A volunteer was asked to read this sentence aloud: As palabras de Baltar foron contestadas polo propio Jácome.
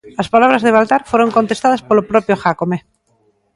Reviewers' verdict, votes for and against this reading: accepted, 3, 0